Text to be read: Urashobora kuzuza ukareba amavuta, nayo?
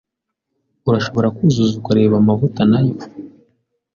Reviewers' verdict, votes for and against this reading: accepted, 2, 0